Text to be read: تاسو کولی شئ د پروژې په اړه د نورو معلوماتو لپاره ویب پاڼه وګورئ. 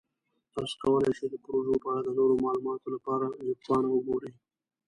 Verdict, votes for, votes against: rejected, 1, 2